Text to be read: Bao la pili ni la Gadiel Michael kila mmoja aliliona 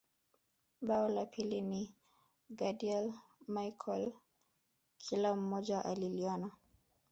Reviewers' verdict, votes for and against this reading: rejected, 0, 2